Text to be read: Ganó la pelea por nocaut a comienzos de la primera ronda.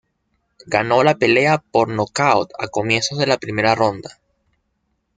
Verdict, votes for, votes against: accepted, 2, 0